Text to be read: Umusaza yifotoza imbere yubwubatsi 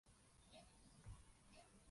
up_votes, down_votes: 0, 2